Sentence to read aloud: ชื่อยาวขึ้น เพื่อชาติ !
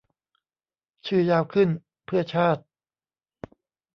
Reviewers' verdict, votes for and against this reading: rejected, 1, 2